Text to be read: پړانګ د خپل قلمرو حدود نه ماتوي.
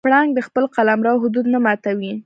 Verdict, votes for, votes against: accepted, 2, 0